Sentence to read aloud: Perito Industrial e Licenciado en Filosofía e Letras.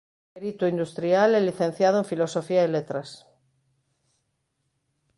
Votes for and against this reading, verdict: 0, 2, rejected